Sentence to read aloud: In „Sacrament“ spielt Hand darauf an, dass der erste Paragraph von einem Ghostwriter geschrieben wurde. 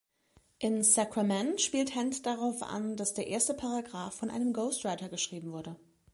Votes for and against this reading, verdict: 2, 0, accepted